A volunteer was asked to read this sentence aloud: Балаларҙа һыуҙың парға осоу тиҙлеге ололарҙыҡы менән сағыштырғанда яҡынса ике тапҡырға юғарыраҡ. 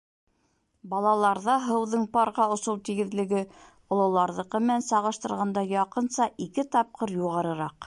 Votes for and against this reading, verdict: 0, 4, rejected